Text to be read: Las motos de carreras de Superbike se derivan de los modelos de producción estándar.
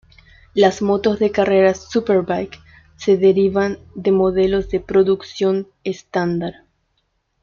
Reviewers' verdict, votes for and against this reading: rejected, 1, 2